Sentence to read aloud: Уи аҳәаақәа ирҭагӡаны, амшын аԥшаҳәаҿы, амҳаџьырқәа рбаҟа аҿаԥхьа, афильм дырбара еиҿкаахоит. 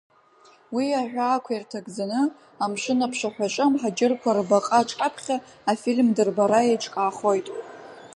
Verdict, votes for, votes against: accepted, 2, 0